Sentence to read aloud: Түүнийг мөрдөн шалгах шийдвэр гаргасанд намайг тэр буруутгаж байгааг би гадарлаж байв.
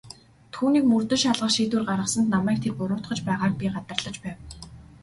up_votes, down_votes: 2, 2